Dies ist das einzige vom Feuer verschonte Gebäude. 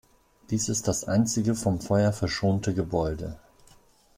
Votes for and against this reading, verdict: 2, 0, accepted